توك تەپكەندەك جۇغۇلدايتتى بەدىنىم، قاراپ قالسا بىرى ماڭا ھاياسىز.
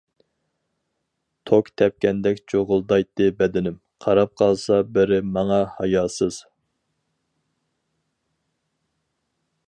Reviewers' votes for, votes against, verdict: 4, 0, accepted